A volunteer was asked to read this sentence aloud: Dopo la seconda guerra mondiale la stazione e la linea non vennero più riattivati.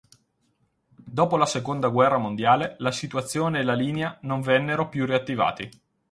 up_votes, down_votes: 0, 4